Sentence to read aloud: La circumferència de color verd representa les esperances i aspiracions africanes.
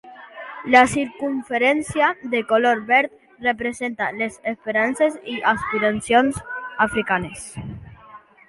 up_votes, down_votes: 2, 0